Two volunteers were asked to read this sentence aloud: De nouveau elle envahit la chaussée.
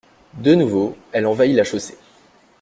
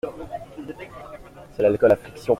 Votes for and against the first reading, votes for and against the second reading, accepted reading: 2, 0, 0, 2, first